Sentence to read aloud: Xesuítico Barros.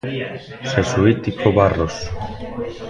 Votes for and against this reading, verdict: 0, 2, rejected